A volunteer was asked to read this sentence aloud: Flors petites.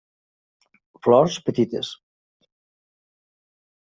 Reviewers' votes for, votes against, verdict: 3, 0, accepted